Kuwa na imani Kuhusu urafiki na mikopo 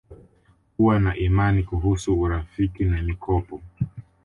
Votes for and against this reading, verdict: 2, 0, accepted